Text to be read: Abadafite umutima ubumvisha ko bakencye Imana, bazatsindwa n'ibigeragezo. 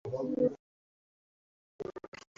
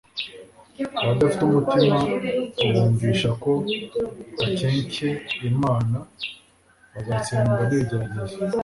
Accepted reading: second